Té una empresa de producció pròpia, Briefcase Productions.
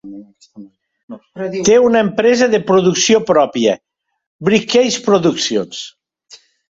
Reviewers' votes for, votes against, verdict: 1, 2, rejected